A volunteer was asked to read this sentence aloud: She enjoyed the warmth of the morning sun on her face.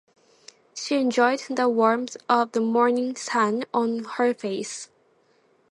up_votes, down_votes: 2, 0